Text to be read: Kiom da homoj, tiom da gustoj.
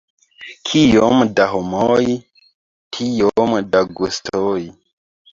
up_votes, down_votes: 0, 2